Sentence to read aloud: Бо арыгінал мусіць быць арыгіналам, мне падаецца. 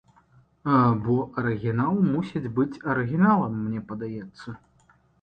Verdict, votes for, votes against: accepted, 2, 1